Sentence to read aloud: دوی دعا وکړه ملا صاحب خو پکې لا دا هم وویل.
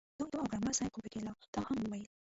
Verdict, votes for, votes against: rejected, 0, 2